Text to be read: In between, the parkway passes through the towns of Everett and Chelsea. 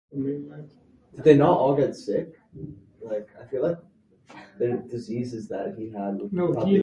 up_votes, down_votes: 0, 4